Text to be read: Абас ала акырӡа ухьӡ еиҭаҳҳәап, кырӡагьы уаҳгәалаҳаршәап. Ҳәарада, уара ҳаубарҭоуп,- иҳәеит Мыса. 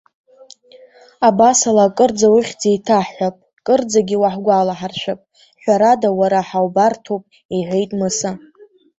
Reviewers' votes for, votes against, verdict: 1, 2, rejected